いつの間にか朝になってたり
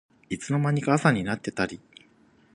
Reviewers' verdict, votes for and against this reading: accepted, 2, 0